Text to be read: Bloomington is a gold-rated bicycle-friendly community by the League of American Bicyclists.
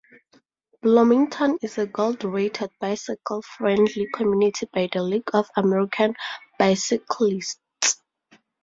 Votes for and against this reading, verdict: 2, 0, accepted